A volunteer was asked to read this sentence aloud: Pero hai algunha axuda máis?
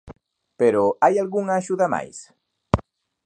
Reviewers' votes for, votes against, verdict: 2, 0, accepted